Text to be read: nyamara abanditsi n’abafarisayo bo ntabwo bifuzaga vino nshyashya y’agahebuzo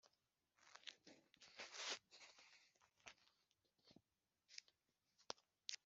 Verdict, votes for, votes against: rejected, 1, 2